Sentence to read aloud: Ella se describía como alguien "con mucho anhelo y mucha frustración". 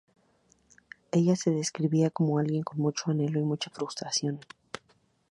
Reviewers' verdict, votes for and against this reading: rejected, 0, 2